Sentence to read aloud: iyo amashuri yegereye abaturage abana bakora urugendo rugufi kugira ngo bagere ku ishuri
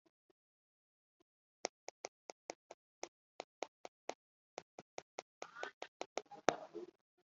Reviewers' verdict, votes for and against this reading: rejected, 0, 2